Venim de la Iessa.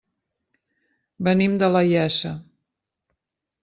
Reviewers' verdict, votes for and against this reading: accepted, 2, 0